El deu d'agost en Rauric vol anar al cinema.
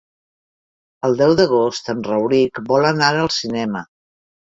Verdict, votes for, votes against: accepted, 3, 0